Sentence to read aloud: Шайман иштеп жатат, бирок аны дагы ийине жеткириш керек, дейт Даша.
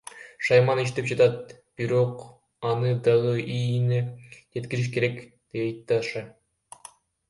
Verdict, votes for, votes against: rejected, 0, 2